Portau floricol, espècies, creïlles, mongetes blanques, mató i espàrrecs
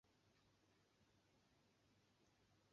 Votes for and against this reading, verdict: 0, 2, rejected